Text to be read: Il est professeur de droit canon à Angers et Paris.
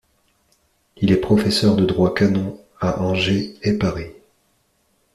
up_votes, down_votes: 2, 0